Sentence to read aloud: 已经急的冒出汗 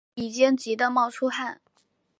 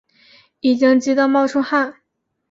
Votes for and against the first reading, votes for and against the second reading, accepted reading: 1, 2, 2, 0, second